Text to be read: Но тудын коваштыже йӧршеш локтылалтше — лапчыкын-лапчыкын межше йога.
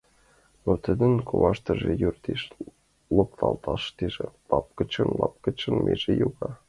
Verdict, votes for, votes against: rejected, 1, 2